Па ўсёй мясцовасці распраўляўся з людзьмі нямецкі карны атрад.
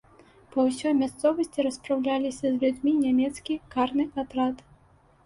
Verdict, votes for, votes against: rejected, 0, 2